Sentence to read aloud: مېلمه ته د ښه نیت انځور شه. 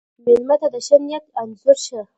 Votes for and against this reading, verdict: 0, 2, rejected